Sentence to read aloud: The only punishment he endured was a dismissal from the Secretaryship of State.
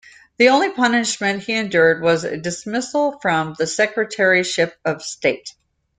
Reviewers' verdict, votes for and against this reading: accepted, 2, 0